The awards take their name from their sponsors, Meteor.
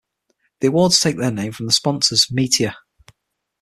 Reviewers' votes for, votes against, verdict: 3, 6, rejected